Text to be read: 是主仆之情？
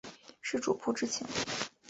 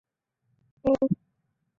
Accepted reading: first